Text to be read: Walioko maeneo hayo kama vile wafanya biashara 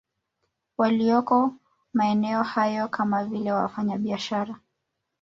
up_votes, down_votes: 2, 0